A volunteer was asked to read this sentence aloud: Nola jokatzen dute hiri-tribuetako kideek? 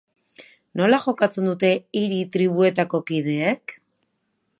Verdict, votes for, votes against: accepted, 2, 0